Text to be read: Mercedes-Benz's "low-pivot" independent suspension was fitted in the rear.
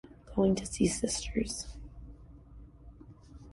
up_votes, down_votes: 0, 2